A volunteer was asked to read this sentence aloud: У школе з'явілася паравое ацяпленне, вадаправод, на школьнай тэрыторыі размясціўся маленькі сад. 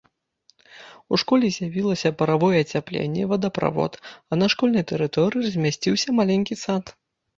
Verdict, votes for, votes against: rejected, 1, 2